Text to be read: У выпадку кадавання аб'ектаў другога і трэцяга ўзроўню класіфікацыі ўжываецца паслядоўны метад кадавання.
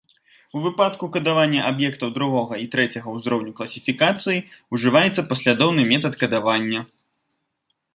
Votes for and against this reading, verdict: 1, 2, rejected